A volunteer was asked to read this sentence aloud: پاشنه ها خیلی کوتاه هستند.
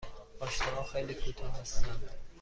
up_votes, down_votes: 2, 0